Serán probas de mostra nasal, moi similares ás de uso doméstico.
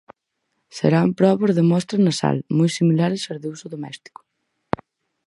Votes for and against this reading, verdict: 4, 0, accepted